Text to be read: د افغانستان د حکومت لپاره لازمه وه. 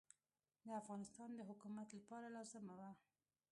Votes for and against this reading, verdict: 0, 2, rejected